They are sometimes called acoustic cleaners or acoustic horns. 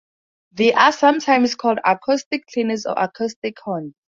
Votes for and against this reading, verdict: 2, 0, accepted